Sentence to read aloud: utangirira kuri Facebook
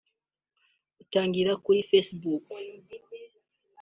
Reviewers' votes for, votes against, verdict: 1, 2, rejected